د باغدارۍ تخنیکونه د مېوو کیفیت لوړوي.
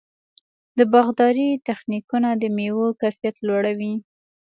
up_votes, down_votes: 2, 0